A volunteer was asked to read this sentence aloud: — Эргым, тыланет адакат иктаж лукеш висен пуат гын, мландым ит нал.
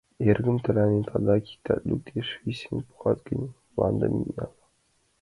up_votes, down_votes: 2, 0